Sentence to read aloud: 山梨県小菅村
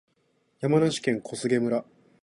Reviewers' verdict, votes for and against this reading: accepted, 2, 0